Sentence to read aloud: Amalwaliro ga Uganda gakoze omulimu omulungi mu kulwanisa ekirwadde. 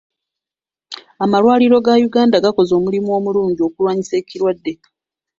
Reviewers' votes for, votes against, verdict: 2, 0, accepted